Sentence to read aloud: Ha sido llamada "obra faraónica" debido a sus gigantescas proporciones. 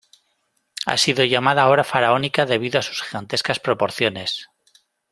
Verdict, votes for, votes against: rejected, 0, 2